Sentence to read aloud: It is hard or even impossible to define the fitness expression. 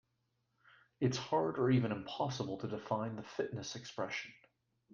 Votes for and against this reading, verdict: 0, 2, rejected